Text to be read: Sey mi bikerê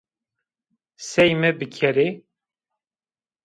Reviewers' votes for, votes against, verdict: 2, 0, accepted